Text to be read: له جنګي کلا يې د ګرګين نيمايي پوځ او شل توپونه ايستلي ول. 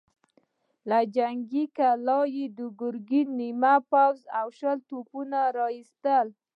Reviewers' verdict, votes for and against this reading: rejected, 1, 2